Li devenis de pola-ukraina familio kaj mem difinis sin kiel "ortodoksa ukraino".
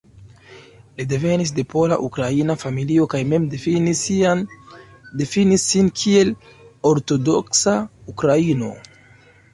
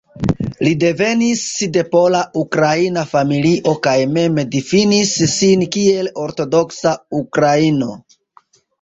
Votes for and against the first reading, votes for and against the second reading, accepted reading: 0, 2, 2, 0, second